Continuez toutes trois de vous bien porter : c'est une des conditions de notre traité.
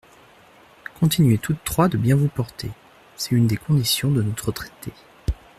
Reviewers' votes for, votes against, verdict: 1, 2, rejected